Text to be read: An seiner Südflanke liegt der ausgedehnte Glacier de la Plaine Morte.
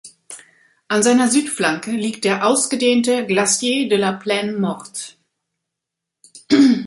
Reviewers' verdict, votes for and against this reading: rejected, 1, 2